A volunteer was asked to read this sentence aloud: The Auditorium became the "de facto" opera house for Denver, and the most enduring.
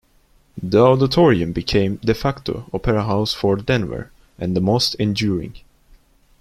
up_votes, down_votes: 1, 2